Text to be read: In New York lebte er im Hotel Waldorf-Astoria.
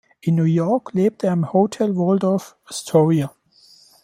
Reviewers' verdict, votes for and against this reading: rejected, 1, 2